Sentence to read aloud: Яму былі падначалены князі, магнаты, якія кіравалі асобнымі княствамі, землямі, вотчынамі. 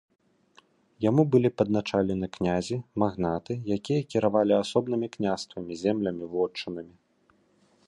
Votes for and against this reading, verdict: 1, 2, rejected